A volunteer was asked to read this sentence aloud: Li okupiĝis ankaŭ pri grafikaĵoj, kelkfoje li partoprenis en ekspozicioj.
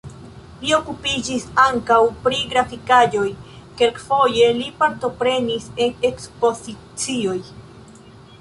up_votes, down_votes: 1, 2